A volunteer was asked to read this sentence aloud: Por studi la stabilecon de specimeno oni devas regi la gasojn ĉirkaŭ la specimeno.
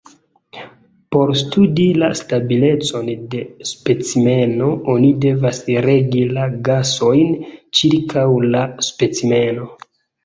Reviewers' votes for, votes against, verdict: 0, 2, rejected